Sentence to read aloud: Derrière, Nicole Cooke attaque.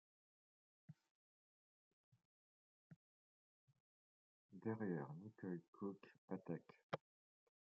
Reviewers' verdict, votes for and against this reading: rejected, 0, 2